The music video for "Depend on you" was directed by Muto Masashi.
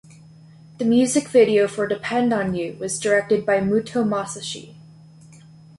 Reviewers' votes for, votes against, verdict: 2, 0, accepted